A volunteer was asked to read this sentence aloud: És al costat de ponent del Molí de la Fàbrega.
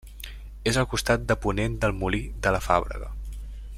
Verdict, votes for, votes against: accepted, 2, 0